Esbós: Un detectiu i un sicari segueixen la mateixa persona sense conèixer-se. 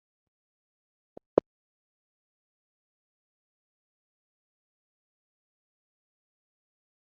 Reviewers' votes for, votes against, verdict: 0, 2, rejected